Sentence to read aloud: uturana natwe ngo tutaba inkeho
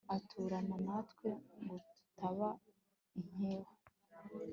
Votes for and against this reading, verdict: 2, 1, accepted